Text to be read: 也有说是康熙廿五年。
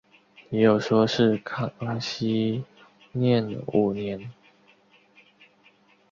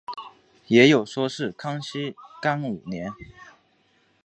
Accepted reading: second